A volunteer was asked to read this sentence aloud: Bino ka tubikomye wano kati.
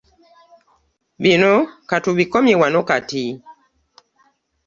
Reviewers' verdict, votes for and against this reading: accepted, 2, 0